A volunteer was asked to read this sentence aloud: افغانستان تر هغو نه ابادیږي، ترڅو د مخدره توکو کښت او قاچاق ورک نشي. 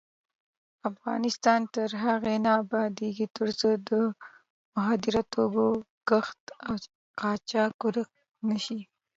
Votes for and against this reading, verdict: 2, 0, accepted